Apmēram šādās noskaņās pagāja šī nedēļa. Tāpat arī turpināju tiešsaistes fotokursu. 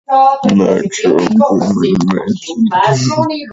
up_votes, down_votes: 0, 2